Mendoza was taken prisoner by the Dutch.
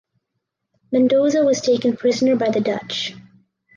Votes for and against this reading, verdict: 4, 0, accepted